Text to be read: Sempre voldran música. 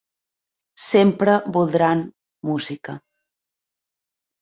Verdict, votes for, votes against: accepted, 3, 0